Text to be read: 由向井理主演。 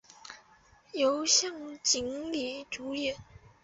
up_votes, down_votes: 3, 0